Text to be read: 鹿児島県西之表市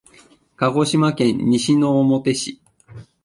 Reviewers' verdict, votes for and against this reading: accepted, 2, 0